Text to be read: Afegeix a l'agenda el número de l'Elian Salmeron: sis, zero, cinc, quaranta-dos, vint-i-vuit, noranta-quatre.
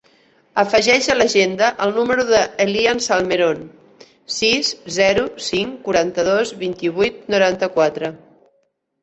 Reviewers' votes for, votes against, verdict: 1, 2, rejected